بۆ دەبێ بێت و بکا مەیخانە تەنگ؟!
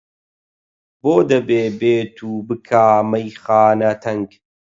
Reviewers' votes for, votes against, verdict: 8, 0, accepted